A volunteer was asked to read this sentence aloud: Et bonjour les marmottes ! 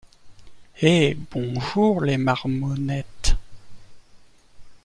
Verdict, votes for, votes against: rejected, 0, 2